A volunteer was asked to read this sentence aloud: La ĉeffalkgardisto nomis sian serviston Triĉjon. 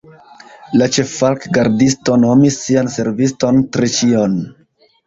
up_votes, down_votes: 1, 2